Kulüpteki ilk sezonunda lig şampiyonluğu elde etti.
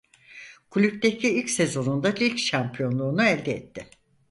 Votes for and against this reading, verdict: 0, 4, rejected